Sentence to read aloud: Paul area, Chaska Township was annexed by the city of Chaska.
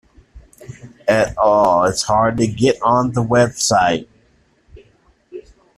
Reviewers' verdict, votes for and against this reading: rejected, 0, 2